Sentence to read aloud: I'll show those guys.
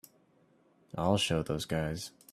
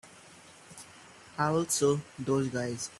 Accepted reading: first